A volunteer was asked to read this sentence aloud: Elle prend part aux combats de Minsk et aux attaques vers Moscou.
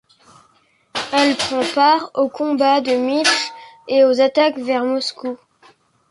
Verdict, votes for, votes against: accepted, 2, 1